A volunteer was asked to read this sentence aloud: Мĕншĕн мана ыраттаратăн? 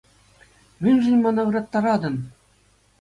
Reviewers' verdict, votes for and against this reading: accepted, 2, 0